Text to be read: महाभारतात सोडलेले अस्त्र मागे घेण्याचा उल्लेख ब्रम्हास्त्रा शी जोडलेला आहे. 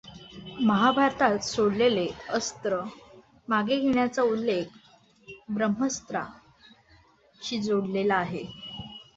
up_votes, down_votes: 1, 2